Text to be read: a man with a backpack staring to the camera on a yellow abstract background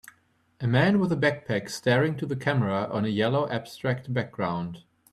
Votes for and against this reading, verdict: 2, 0, accepted